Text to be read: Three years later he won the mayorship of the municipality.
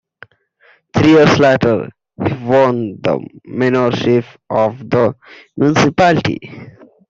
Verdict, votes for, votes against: rejected, 0, 2